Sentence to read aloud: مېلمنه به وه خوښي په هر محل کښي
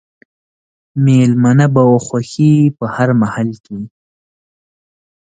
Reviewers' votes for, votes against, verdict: 2, 0, accepted